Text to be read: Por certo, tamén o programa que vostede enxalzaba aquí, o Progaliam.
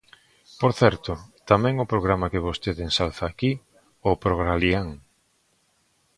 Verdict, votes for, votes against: rejected, 0, 2